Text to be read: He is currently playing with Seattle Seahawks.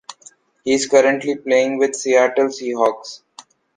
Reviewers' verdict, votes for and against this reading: rejected, 1, 2